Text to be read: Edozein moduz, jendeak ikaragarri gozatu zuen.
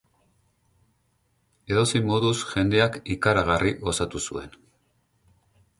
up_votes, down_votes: 4, 0